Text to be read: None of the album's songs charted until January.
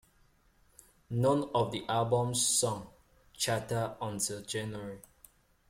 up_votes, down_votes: 1, 2